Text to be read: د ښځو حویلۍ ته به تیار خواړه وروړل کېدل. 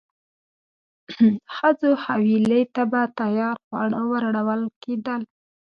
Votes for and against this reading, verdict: 0, 2, rejected